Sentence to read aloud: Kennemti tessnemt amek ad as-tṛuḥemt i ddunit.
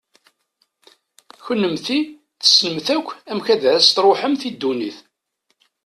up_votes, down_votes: 0, 2